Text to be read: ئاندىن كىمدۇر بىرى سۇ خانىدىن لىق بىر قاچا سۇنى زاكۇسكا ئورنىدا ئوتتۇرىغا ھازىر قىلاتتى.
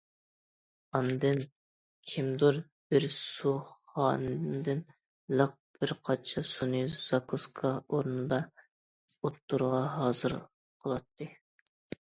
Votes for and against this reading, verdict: 1, 2, rejected